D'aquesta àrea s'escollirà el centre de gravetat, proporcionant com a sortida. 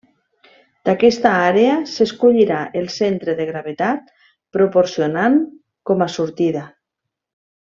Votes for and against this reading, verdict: 3, 0, accepted